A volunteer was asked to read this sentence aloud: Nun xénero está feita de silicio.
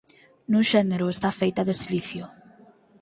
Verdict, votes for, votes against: accepted, 4, 0